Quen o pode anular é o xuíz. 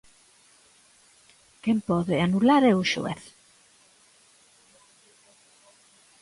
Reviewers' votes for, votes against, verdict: 0, 2, rejected